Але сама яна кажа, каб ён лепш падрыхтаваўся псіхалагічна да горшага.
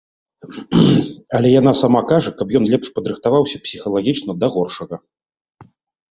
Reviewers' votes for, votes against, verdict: 1, 2, rejected